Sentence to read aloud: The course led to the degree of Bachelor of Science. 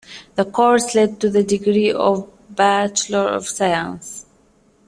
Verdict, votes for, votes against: accepted, 2, 0